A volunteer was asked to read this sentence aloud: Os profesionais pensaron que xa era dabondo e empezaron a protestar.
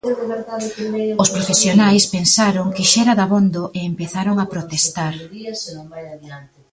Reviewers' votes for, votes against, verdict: 0, 2, rejected